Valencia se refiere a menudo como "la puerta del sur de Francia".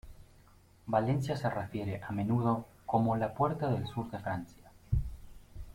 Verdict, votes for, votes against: accepted, 2, 0